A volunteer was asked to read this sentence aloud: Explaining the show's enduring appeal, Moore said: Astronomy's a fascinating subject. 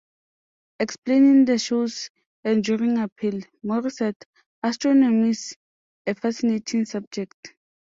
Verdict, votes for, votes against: accepted, 2, 0